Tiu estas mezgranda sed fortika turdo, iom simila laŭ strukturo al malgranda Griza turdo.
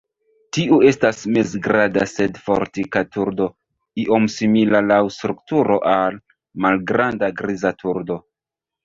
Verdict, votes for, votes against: rejected, 1, 2